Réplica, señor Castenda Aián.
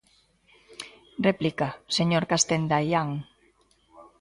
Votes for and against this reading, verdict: 2, 0, accepted